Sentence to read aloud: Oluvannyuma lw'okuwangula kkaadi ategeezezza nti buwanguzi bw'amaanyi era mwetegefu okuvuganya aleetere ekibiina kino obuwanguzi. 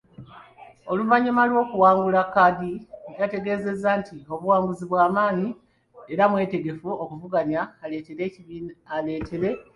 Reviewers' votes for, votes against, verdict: 0, 2, rejected